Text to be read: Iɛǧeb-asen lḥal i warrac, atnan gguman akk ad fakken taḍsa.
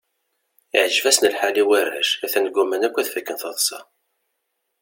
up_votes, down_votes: 2, 0